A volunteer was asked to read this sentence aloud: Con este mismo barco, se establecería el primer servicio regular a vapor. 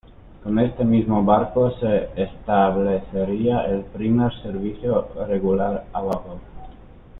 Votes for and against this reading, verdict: 1, 2, rejected